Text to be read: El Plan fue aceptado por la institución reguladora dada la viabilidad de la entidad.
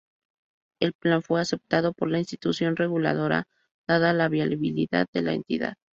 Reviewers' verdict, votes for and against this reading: rejected, 0, 2